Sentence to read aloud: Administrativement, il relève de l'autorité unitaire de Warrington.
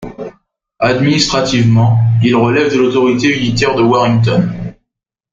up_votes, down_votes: 2, 0